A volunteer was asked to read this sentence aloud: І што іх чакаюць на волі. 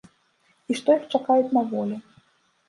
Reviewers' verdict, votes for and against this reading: accepted, 2, 0